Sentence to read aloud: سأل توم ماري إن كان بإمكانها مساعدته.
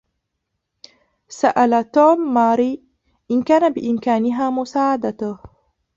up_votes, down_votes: 0, 2